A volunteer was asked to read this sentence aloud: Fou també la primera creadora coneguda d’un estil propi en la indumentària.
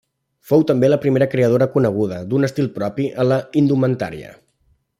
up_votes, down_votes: 2, 0